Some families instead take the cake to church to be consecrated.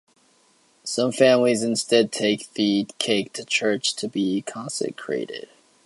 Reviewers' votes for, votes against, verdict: 0, 2, rejected